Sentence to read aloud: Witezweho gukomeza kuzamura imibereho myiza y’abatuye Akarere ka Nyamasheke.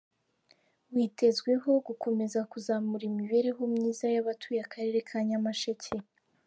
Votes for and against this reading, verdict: 3, 0, accepted